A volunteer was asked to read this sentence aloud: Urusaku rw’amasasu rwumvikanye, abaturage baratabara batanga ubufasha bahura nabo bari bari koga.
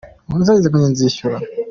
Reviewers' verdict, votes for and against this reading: rejected, 0, 2